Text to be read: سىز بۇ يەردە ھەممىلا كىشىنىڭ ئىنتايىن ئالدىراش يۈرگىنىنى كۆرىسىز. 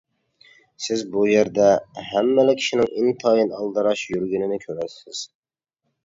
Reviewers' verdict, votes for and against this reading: accepted, 2, 0